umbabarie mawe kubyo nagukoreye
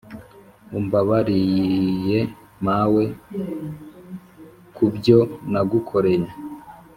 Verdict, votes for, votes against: accepted, 4, 0